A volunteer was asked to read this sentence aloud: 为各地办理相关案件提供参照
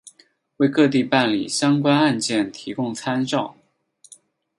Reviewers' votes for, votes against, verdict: 4, 0, accepted